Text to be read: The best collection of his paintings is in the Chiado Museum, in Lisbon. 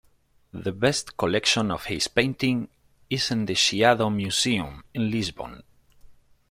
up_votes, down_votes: 1, 2